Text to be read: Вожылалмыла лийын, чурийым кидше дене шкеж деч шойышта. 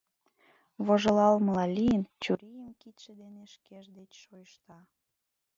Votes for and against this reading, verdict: 1, 2, rejected